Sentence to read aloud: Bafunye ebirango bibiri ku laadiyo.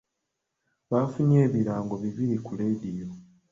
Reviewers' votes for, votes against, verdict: 0, 2, rejected